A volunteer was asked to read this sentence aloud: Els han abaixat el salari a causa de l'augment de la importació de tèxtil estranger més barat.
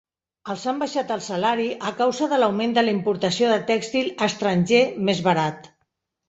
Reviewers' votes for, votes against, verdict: 1, 2, rejected